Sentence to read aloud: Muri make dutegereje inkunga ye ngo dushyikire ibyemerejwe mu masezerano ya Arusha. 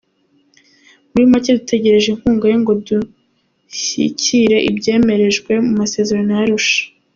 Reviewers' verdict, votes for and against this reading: rejected, 1, 2